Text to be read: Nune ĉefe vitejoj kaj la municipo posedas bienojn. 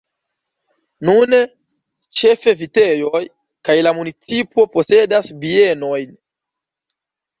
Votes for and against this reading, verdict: 1, 2, rejected